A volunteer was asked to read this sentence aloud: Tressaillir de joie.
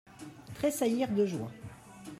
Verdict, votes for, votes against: rejected, 1, 2